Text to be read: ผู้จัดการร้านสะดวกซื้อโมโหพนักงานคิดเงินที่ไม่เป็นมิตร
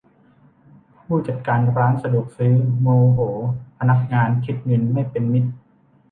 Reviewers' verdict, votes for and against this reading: rejected, 0, 2